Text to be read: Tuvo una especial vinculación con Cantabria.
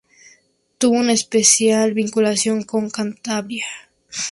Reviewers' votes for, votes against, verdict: 2, 0, accepted